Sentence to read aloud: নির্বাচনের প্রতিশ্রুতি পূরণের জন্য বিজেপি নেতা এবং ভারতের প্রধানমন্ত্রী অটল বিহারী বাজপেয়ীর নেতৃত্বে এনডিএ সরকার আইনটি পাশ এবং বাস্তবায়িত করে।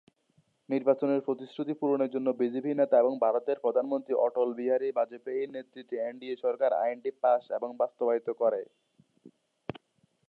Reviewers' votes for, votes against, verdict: 0, 2, rejected